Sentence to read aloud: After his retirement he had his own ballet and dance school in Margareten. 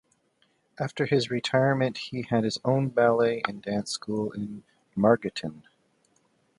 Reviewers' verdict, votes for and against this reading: accepted, 2, 0